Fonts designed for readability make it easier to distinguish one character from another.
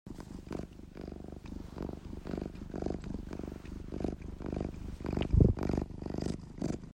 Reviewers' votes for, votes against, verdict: 0, 2, rejected